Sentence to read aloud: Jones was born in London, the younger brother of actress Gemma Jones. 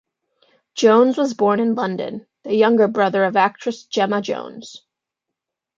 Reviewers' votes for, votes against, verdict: 2, 0, accepted